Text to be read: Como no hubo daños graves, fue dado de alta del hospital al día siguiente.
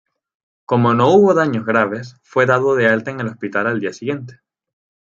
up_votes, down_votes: 4, 0